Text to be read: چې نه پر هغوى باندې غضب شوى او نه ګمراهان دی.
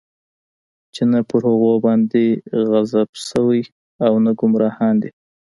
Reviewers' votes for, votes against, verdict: 2, 1, accepted